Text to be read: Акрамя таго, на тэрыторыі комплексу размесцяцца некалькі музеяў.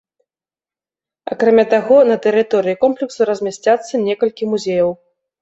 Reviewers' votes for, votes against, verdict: 0, 2, rejected